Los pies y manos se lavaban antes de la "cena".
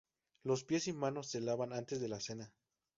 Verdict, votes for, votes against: rejected, 2, 2